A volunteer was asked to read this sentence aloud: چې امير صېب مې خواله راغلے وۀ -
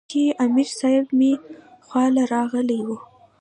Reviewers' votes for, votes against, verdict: 2, 0, accepted